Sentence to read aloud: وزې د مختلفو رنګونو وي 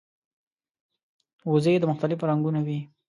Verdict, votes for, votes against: accepted, 2, 0